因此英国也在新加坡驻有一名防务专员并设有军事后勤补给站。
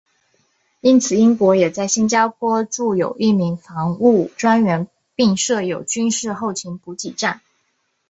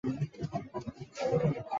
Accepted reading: first